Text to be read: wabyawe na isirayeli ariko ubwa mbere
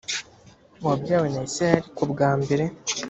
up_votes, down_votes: 1, 2